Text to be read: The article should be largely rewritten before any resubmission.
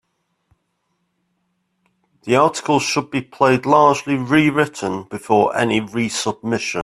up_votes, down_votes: 0, 2